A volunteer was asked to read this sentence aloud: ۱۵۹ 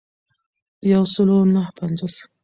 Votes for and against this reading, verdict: 0, 2, rejected